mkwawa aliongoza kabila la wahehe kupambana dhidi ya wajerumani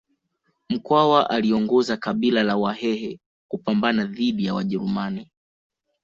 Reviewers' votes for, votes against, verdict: 2, 0, accepted